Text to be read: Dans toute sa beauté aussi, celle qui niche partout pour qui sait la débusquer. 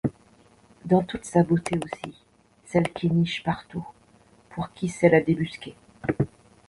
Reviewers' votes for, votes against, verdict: 0, 2, rejected